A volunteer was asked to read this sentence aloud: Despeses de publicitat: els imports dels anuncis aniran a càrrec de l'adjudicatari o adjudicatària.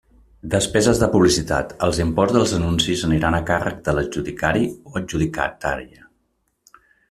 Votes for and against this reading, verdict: 0, 2, rejected